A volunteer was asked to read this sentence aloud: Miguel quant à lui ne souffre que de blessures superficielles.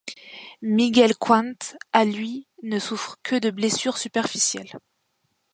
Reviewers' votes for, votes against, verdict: 1, 2, rejected